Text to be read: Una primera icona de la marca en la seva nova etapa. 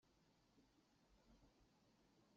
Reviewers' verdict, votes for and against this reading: rejected, 0, 2